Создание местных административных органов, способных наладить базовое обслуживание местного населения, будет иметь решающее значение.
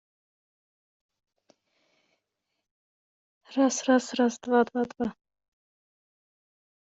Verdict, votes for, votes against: rejected, 0, 2